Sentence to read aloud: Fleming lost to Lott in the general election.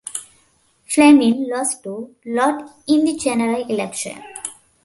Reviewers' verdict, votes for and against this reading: accepted, 2, 0